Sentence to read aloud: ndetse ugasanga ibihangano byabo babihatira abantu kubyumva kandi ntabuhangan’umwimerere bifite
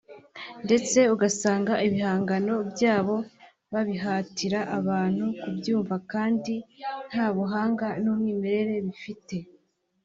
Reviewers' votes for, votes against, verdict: 3, 0, accepted